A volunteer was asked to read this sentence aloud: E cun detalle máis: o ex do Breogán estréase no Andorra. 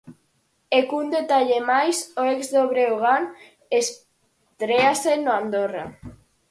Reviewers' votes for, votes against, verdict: 4, 2, accepted